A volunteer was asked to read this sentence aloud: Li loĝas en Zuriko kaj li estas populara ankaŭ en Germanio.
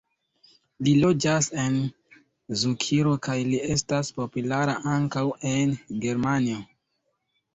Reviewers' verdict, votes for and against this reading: rejected, 0, 2